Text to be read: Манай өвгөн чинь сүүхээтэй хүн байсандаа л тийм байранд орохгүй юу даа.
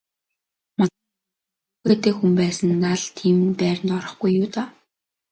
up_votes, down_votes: 0, 2